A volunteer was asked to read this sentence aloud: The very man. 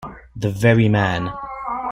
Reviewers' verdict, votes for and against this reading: accepted, 2, 0